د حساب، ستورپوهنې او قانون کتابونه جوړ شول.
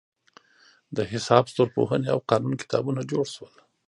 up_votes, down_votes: 1, 2